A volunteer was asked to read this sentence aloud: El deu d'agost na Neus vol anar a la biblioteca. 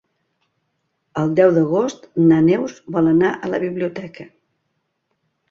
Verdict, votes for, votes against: accepted, 2, 0